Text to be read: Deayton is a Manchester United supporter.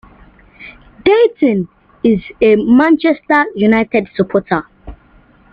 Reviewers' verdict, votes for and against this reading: accepted, 2, 1